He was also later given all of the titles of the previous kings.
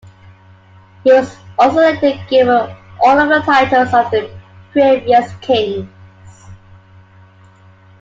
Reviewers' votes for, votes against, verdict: 2, 1, accepted